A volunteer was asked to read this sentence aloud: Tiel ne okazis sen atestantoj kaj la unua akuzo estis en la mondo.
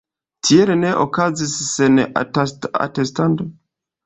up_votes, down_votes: 1, 3